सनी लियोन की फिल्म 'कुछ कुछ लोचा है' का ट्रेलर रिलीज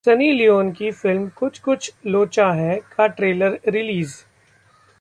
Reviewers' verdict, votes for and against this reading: accepted, 2, 0